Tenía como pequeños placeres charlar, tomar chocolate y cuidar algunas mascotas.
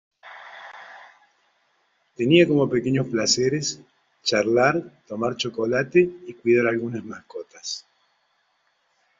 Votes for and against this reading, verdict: 2, 0, accepted